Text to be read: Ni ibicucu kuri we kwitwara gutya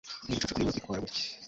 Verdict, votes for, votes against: rejected, 1, 2